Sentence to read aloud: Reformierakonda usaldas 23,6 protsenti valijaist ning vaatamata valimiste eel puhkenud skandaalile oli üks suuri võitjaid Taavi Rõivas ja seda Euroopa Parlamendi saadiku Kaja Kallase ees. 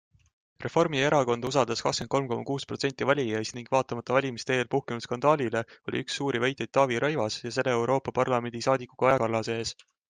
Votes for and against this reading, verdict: 0, 2, rejected